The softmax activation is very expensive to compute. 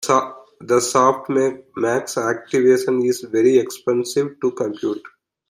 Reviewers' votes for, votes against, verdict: 1, 2, rejected